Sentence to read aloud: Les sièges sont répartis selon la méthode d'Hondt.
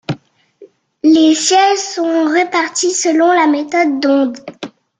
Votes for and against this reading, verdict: 2, 0, accepted